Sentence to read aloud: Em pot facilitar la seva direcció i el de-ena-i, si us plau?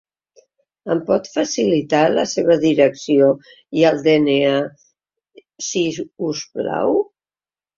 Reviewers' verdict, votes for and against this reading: rejected, 0, 2